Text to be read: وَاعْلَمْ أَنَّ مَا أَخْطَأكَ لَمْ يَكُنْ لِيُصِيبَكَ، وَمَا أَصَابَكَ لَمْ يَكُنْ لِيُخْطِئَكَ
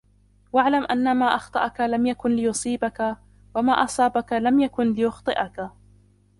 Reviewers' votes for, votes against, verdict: 0, 2, rejected